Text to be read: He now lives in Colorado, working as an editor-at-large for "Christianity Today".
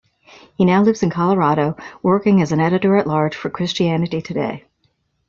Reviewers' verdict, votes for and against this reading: accepted, 2, 0